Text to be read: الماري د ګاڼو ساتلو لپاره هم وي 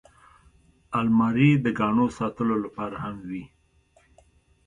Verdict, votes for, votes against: accepted, 2, 0